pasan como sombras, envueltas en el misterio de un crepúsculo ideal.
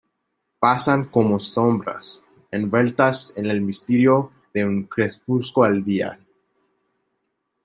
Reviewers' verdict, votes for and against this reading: rejected, 0, 2